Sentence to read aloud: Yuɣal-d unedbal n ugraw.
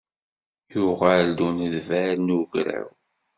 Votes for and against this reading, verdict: 2, 1, accepted